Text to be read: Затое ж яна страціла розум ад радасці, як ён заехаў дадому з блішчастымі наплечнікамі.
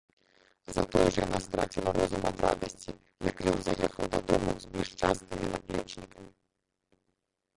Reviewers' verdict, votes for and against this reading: rejected, 0, 2